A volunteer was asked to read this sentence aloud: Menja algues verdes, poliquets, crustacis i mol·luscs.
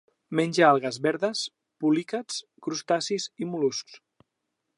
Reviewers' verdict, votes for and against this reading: rejected, 0, 2